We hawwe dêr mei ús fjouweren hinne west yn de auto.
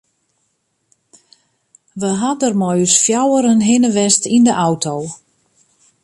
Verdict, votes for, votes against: rejected, 0, 2